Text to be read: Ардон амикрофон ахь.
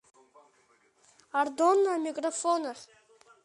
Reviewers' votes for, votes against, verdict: 2, 0, accepted